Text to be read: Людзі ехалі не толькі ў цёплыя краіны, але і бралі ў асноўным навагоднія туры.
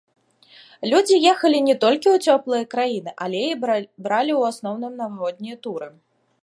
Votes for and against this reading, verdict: 0, 2, rejected